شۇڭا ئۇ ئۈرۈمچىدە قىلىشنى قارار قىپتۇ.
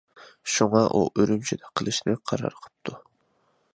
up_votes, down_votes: 2, 0